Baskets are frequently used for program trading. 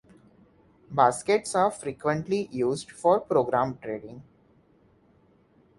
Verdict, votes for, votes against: accepted, 2, 0